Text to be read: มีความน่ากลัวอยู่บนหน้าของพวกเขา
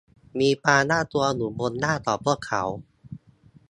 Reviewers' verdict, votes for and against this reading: rejected, 0, 2